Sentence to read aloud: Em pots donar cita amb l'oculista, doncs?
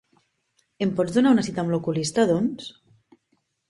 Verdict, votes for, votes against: rejected, 0, 2